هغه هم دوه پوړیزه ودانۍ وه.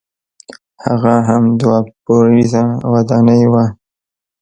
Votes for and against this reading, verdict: 1, 2, rejected